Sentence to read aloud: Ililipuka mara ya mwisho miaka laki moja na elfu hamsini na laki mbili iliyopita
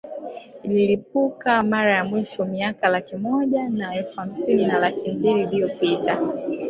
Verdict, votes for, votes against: accepted, 2, 1